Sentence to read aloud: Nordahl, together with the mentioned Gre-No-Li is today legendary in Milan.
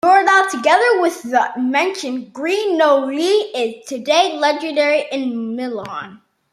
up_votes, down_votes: 2, 0